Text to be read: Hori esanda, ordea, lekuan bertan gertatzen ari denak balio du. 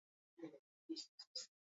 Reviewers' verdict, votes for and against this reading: accepted, 2, 0